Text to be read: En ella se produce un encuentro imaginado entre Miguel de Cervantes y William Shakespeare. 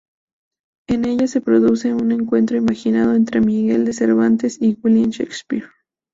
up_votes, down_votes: 2, 0